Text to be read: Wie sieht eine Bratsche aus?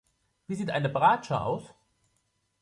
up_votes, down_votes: 1, 2